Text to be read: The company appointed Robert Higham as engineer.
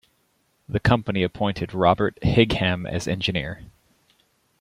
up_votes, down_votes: 2, 0